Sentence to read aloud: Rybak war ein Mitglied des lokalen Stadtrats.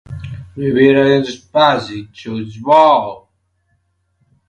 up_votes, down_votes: 0, 2